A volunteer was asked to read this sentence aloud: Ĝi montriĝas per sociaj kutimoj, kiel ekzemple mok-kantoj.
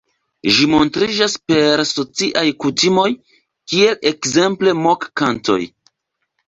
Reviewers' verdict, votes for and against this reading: rejected, 1, 2